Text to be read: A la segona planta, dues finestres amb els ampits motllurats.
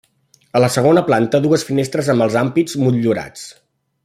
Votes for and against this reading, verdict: 0, 2, rejected